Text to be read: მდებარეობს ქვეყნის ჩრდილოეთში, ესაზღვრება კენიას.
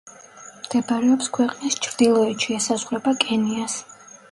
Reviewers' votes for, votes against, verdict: 1, 2, rejected